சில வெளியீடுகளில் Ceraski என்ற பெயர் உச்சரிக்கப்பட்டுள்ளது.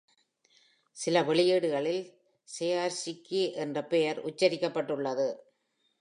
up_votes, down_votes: 1, 2